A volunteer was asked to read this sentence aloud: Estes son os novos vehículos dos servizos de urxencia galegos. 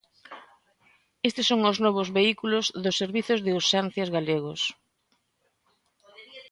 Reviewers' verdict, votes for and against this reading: rejected, 1, 2